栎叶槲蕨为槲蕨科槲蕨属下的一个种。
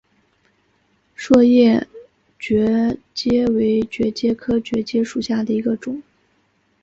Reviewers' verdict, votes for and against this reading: rejected, 0, 2